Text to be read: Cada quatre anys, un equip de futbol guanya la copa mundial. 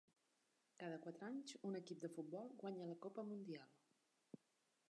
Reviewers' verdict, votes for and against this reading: accepted, 3, 0